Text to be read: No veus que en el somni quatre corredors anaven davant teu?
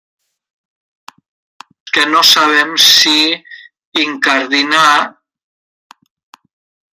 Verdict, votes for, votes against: rejected, 0, 2